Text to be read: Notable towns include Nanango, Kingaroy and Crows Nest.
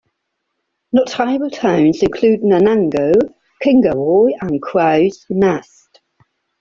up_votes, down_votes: 0, 2